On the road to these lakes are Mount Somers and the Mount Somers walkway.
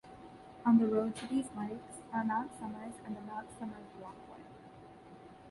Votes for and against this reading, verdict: 2, 1, accepted